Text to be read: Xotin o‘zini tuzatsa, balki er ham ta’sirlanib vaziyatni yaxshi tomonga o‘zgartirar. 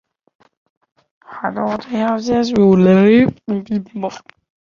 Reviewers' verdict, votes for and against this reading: rejected, 0, 2